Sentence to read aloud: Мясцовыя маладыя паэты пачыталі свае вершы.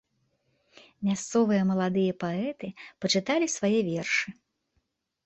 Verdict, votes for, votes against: accepted, 2, 0